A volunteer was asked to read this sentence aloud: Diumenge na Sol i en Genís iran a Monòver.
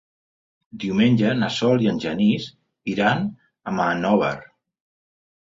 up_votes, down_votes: 1, 2